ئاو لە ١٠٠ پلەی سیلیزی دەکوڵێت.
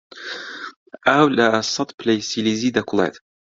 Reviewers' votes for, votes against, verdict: 0, 2, rejected